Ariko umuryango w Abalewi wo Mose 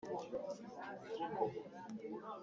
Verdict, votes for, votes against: rejected, 1, 3